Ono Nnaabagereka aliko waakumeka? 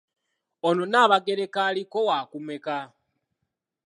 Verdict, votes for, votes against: accepted, 2, 0